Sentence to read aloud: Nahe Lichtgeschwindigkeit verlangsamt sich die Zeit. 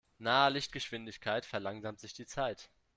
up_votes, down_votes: 2, 0